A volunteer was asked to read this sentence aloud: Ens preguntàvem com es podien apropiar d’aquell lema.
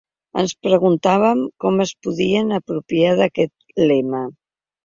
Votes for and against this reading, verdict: 2, 3, rejected